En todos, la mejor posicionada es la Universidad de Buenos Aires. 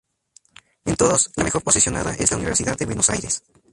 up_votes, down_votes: 2, 0